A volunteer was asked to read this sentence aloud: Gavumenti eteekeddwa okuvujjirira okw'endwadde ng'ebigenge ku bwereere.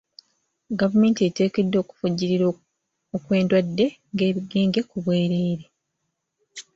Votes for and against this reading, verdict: 1, 2, rejected